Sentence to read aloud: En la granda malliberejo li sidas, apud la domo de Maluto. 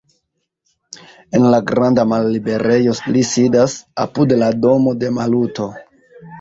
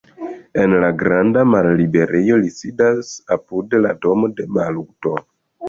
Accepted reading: first